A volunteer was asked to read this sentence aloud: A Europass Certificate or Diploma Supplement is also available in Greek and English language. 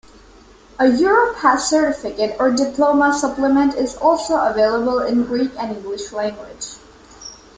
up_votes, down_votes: 0, 2